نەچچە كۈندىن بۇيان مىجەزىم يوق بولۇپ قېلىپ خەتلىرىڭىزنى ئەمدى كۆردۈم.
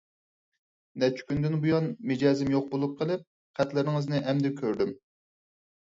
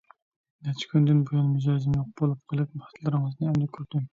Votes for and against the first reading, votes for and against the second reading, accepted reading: 4, 0, 0, 2, first